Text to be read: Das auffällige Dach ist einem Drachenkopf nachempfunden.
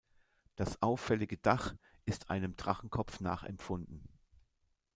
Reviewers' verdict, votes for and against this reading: accepted, 2, 0